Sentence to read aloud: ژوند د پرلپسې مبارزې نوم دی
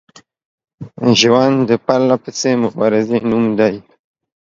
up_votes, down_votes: 1, 2